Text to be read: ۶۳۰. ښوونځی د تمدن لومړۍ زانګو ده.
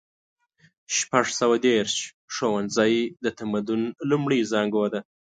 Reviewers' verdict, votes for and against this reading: rejected, 0, 2